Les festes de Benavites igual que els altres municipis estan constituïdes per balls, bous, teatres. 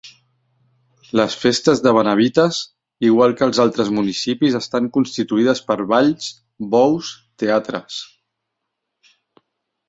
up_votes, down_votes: 3, 0